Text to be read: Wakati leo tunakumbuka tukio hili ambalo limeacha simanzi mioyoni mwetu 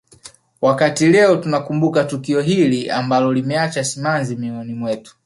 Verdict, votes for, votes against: accepted, 2, 0